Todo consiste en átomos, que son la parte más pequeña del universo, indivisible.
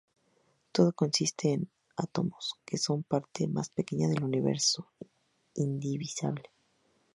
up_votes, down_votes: 2, 0